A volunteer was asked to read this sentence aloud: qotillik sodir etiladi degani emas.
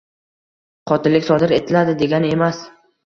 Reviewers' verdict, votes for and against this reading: accepted, 2, 0